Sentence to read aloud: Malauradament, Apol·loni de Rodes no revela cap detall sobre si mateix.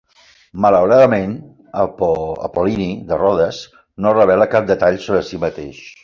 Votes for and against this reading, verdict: 0, 2, rejected